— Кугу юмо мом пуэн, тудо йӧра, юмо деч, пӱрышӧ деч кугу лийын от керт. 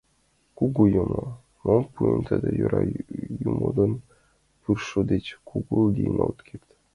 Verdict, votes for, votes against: rejected, 0, 2